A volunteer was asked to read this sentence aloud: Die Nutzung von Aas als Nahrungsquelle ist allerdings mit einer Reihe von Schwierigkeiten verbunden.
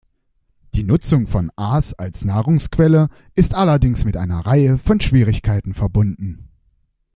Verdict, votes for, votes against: accepted, 2, 0